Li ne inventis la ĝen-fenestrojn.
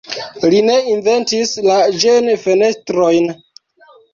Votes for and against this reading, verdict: 2, 0, accepted